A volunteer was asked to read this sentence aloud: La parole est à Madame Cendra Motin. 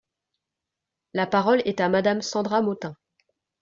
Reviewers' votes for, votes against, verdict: 2, 0, accepted